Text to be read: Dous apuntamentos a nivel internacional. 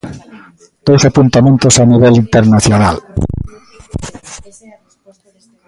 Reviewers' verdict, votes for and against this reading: accepted, 2, 1